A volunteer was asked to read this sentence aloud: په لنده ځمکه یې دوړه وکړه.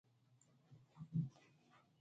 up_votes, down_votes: 0, 2